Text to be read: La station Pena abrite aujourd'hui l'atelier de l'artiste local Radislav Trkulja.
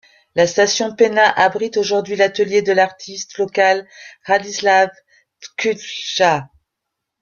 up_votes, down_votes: 0, 2